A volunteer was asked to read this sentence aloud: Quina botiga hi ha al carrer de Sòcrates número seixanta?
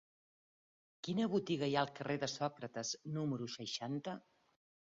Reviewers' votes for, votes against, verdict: 4, 0, accepted